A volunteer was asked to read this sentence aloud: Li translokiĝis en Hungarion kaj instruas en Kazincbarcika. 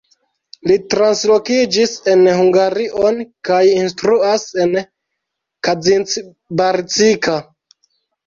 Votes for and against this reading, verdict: 2, 1, accepted